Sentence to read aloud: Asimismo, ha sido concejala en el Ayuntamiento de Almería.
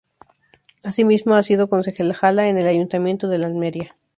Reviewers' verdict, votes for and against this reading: rejected, 0, 2